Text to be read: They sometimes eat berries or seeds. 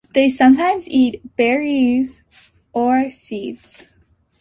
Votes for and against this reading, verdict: 2, 0, accepted